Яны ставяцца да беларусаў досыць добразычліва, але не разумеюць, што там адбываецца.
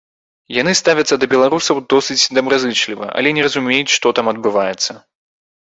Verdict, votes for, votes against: rejected, 0, 2